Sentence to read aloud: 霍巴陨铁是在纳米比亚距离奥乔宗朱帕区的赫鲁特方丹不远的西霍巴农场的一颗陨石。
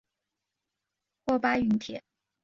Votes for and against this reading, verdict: 0, 2, rejected